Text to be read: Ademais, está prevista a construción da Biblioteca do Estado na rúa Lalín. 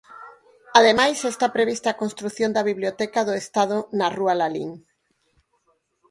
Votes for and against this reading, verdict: 4, 0, accepted